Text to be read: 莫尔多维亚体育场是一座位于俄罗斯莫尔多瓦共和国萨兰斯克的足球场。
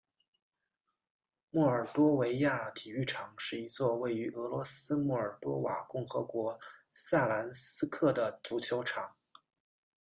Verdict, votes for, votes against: accepted, 2, 0